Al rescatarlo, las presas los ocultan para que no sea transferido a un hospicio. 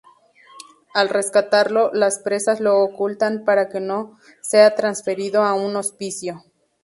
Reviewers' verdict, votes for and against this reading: accepted, 2, 0